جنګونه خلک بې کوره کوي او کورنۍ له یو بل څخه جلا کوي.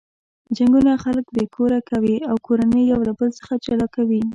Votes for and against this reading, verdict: 1, 2, rejected